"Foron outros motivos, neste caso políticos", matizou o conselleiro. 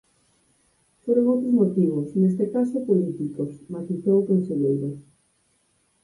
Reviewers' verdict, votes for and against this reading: accepted, 4, 2